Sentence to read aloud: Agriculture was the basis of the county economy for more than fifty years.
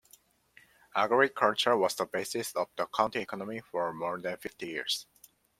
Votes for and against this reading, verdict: 2, 0, accepted